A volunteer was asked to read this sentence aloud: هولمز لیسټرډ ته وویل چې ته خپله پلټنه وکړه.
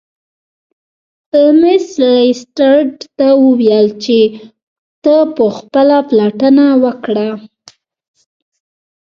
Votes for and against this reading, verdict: 2, 0, accepted